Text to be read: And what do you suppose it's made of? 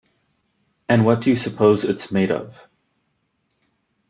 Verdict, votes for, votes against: accepted, 2, 0